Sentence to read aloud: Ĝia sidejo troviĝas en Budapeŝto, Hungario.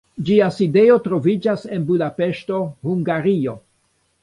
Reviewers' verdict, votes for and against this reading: rejected, 0, 2